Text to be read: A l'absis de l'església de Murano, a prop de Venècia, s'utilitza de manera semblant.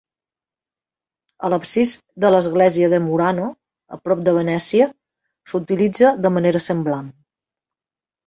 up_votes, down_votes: 3, 0